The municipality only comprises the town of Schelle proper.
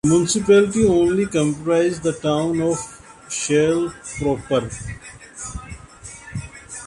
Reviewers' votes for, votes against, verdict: 0, 2, rejected